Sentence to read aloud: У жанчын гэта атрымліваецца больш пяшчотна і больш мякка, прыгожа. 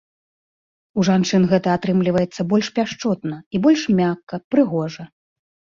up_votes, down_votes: 3, 0